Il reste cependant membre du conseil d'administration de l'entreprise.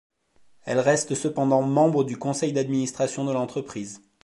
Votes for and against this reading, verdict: 1, 2, rejected